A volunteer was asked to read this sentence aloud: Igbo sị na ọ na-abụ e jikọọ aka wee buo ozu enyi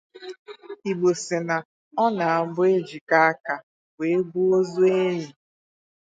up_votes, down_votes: 2, 2